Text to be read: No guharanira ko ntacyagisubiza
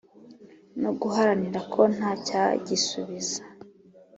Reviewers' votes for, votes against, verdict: 2, 0, accepted